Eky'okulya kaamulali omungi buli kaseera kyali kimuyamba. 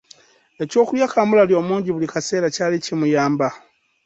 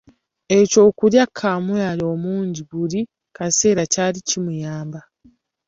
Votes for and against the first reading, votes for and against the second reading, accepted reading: 3, 0, 1, 2, first